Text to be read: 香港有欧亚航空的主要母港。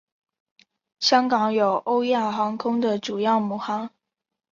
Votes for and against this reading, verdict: 4, 0, accepted